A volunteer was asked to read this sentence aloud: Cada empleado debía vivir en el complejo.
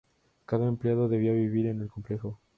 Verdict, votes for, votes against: rejected, 0, 2